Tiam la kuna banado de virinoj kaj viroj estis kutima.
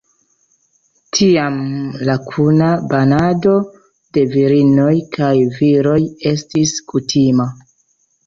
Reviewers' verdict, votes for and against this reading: accepted, 2, 0